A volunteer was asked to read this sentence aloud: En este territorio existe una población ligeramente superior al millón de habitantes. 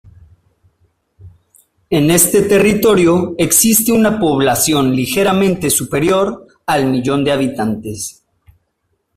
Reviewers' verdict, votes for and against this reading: accepted, 2, 0